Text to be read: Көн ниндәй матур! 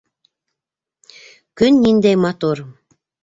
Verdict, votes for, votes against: accepted, 2, 0